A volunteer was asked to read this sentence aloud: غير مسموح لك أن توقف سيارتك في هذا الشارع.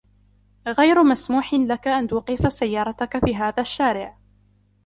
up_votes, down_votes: 2, 1